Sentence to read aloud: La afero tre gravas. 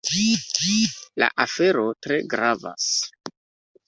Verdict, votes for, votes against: accepted, 2, 0